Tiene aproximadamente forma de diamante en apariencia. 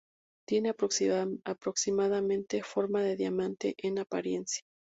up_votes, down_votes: 0, 2